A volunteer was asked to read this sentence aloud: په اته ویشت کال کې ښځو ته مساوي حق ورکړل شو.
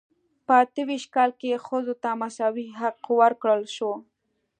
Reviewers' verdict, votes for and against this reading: accepted, 2, 0